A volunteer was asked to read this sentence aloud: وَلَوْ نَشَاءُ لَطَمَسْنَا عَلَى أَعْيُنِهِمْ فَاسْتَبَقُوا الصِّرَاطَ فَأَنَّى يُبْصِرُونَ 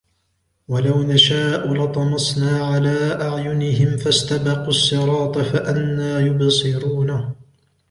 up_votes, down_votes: 2, 1